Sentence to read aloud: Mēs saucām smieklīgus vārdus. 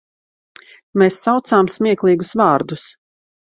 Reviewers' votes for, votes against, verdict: 2, 0, accepted